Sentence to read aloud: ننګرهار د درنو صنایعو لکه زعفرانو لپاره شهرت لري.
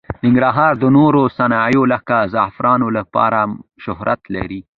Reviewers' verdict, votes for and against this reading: accepted, 2, 0